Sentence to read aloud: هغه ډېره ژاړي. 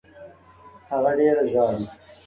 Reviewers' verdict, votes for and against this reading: accepted, 5, 1